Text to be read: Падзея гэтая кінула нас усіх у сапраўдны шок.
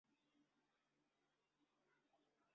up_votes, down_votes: 0, 2